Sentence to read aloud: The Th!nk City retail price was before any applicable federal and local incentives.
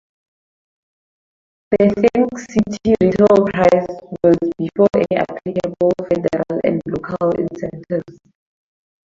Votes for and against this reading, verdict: 2, 2, rejected